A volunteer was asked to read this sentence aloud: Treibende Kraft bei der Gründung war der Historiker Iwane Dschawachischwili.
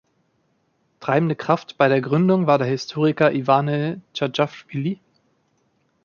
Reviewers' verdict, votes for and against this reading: rejected, 1, 2